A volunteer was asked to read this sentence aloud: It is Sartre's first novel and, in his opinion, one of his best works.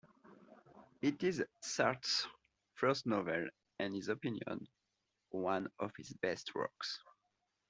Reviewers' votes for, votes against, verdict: 1, 2, rejected